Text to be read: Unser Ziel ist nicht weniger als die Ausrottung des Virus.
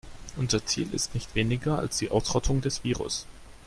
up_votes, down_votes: 3, 0